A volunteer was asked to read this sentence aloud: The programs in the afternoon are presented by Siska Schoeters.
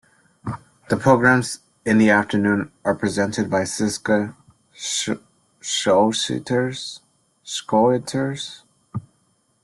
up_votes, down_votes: 0, 2